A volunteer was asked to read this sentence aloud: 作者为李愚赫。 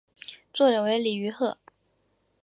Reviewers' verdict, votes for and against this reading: accepted, 3, 0